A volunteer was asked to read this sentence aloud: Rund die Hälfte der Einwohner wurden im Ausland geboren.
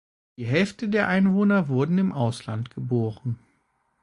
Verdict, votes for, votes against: rejected, 0, 2